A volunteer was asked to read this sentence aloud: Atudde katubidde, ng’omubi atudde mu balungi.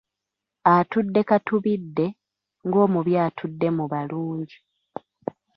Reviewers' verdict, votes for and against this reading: accepted, 2, 1